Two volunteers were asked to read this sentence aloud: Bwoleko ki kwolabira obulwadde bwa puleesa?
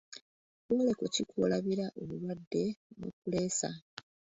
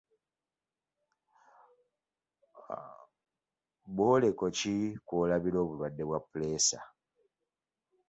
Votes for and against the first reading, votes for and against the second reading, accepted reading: 1, 2, 3, 2, second